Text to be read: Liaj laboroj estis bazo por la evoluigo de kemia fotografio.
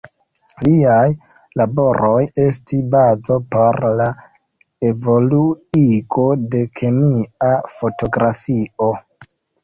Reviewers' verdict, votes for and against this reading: rejected, 1, 2